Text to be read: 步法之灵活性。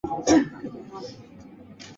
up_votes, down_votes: 2, 3